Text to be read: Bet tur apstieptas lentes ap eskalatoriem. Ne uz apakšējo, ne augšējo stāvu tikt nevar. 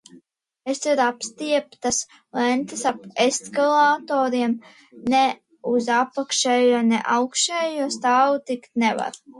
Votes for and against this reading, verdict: 0, 2, rejected